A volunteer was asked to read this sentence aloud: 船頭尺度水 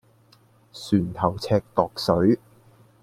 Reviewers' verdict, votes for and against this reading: accepted, 2, 0